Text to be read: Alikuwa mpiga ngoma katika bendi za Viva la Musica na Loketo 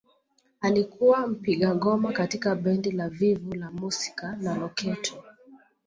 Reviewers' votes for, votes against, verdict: 2, 1, accepted